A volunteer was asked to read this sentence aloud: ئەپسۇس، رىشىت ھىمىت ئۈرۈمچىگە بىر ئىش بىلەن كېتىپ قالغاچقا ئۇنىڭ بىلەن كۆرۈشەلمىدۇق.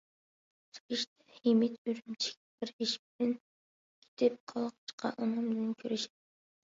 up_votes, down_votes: 0, 2